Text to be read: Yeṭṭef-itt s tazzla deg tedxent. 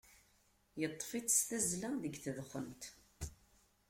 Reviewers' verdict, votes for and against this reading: accepted, 2, 1